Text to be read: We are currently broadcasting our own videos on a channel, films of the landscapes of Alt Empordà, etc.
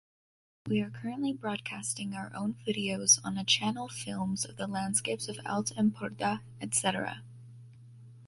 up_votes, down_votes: 2, 1